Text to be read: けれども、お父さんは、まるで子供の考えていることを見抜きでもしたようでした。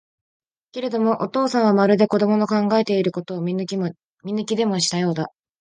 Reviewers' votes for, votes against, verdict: 0, 2, rejected